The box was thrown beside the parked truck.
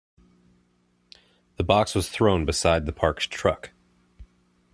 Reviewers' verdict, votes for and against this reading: accepted, 2, 0